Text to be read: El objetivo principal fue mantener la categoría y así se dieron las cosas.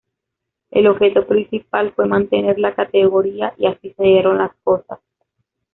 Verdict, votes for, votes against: rejected, 0, 2